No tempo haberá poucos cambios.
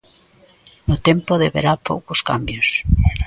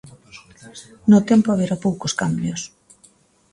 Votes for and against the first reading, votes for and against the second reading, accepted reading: 0, 2, 2, 0, second